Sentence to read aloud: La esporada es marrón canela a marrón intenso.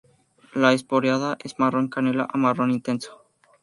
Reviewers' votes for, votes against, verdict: 2, 2, rejected